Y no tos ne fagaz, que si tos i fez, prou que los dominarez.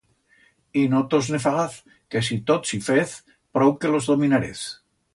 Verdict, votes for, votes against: rejected, 1, 2